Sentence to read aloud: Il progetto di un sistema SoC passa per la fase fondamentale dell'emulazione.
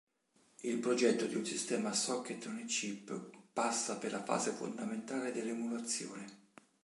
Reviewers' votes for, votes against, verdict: 1, 2, rejected